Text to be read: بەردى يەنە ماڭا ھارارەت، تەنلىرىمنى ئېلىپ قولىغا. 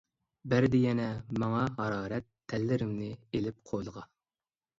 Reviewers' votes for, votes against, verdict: 0, 2, rejected